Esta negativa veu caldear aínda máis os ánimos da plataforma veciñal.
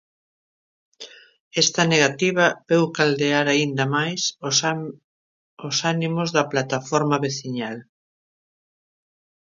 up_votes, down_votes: 0, 2